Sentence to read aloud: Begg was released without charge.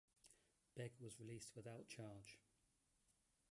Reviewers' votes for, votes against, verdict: 1, 2, rejected